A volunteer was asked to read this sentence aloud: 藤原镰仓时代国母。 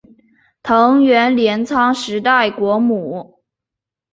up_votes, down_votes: 2, 0